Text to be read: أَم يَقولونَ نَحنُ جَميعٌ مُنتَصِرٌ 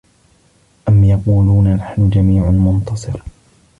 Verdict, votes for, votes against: accepted, 2, 0